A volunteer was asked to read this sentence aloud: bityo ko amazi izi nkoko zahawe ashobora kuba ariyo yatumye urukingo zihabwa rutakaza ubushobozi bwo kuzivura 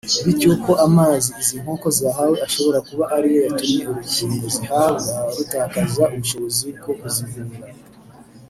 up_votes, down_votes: 1, 2